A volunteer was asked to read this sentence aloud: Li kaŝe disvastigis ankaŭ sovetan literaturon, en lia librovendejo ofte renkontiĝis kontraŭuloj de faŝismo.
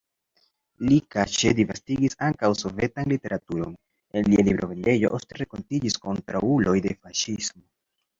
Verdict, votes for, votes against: accepted, 2, 0